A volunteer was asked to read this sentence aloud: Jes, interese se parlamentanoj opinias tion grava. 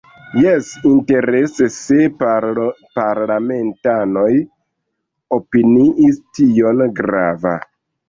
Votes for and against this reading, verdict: 1, 2, rejected